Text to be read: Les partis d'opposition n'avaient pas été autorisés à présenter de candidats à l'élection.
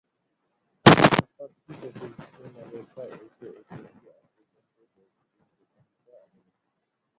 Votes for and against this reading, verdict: 0, 2, rejected